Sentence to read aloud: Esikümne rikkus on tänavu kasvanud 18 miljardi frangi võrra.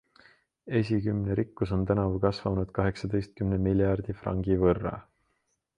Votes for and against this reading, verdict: 0, 2, rejected